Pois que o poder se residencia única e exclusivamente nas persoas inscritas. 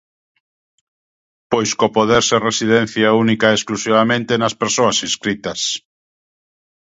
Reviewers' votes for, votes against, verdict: 1, 2, rejected